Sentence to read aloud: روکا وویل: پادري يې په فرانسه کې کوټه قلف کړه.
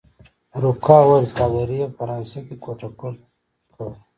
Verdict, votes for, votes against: rejected, 1, 2